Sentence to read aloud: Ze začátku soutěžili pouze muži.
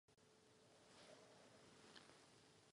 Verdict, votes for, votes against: rejected, 0, 2